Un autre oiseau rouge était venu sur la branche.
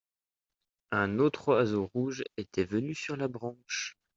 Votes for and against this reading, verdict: 2, 0, accepted